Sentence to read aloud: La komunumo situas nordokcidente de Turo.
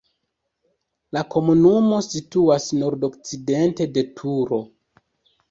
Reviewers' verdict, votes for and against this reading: rejected, 1, 2